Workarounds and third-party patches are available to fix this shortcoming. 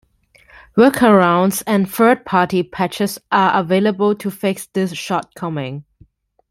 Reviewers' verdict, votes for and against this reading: rejected, 1, 2